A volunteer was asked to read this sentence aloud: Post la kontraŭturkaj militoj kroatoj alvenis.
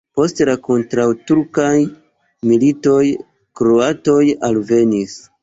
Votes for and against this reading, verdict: 2, 1, accepted